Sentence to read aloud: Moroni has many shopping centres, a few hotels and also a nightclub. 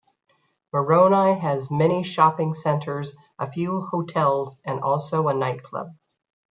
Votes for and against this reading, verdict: 2, 1, accepted